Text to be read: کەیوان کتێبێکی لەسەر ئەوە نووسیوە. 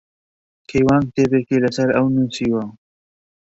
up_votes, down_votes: 1, 2